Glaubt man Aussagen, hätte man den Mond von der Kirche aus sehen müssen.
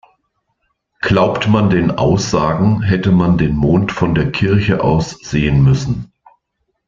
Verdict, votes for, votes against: rejected, 1, 2